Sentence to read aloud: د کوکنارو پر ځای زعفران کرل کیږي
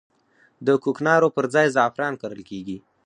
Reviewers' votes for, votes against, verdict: 4, 0, accepted